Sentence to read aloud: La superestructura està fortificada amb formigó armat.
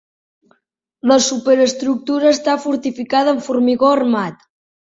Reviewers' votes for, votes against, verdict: 2, 0, accepted